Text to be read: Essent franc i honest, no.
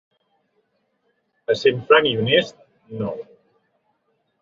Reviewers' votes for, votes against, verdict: 3, 0, accepted